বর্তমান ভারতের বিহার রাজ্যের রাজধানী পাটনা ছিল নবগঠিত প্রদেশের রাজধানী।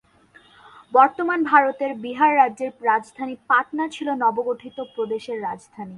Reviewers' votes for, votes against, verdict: 2, 0, accepted